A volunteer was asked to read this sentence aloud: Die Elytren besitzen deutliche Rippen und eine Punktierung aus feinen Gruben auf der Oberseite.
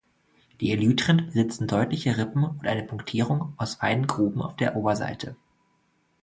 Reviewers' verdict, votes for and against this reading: rejected, 1, 2